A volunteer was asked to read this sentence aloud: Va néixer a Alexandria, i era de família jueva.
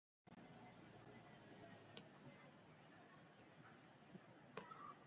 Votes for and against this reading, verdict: 0, 2, rejected